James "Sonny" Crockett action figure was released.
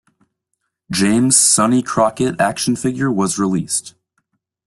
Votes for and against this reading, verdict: 2, 0, accepted